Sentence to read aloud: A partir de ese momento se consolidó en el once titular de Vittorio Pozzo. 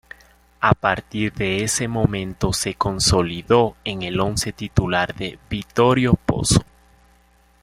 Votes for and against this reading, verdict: 2, 1, accepted